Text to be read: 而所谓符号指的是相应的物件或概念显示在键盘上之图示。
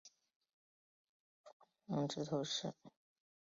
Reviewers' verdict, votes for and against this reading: rejected, 1, 2